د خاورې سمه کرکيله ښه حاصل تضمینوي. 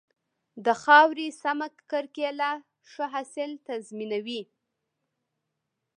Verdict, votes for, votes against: rejected, 0, 2